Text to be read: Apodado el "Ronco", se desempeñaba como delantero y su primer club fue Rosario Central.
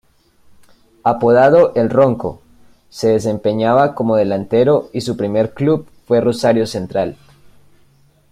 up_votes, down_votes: 2, 0